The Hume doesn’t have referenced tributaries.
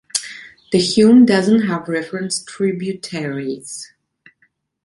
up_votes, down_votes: 2, 0